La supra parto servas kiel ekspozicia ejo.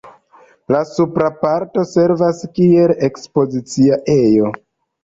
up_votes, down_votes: 2, 0